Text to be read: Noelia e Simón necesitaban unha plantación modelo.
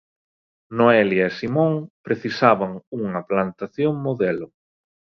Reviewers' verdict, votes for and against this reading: rejected, 0, 2